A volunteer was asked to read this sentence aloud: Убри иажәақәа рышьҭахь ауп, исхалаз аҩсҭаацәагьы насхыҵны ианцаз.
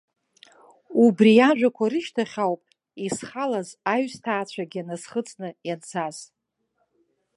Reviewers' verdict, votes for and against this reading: accepted, 2, 1